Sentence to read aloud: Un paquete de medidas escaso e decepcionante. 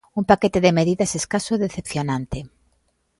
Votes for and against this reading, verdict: 2, 0, accepted